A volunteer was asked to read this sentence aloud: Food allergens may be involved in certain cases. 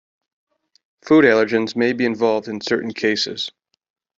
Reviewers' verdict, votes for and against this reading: accepted, 2, 0